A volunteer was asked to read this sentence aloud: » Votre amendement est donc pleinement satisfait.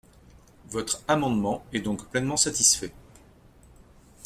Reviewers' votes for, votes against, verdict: 2, 0, accepted